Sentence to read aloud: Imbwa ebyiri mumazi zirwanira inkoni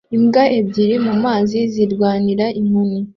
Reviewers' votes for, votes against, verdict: 2, 0, accepted